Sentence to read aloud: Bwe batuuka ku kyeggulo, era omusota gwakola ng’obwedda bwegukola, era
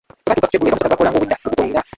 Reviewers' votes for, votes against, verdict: 0, 2, rejected